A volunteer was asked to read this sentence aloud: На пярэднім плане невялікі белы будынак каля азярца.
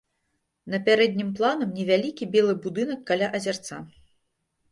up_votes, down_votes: 1, 2